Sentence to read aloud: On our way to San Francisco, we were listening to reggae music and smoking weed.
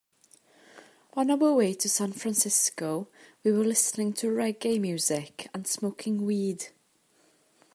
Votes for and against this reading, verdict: 2, 1, accepted